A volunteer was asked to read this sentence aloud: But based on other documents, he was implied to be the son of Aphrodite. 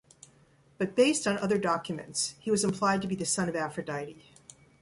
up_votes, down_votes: 1, 2